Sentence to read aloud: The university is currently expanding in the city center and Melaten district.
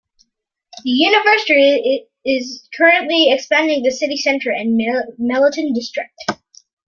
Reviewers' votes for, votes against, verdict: 1, 2, rejected